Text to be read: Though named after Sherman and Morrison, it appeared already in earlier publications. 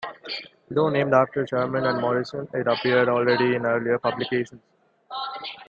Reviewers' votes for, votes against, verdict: 0, 2, rejected